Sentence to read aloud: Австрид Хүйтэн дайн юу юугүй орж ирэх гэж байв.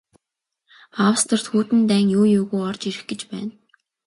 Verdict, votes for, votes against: rejected, 0, 2